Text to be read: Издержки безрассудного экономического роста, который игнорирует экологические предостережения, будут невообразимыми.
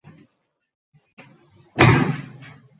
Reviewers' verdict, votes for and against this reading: rejected, 0, 2